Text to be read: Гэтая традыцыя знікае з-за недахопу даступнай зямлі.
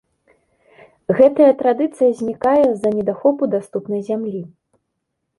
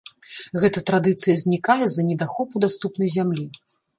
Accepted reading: first